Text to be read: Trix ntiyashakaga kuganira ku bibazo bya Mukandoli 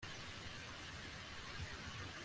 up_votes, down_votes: 2, 3